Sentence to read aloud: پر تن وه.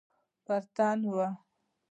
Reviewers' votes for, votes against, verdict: 2, 0, accepted